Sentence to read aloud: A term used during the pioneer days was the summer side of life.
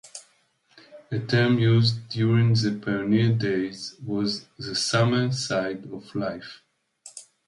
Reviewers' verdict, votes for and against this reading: accepted, 2, 0